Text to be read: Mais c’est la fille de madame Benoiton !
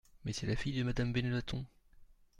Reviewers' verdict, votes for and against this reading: rejected, 1, 2